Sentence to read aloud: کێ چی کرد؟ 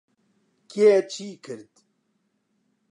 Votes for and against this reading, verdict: 2, 0, accepted